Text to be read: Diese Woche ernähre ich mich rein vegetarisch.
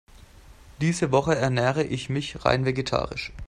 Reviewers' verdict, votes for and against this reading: accepted, 2, 0